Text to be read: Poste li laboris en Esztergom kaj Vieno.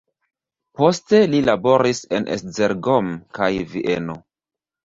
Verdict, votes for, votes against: rejected, 1, 2